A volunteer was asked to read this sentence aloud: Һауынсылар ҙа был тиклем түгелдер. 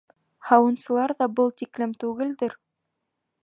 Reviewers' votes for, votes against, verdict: 0, 2, rejected